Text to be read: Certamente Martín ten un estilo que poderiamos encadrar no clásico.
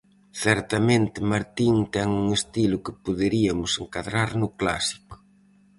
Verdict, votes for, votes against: rejected, 0, 4